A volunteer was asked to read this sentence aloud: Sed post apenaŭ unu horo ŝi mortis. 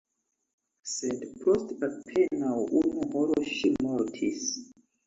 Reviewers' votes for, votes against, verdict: 1, 3, rejected